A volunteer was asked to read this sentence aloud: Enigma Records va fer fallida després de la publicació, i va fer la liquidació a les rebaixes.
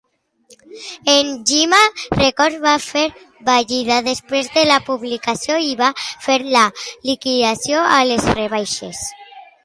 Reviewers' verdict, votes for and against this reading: rejected, 0, 2